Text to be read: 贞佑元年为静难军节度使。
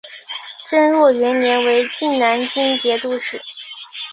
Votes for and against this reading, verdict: 4, 0, accepted